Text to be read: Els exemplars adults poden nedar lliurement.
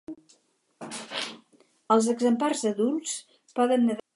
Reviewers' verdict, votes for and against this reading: rejected, 0, 4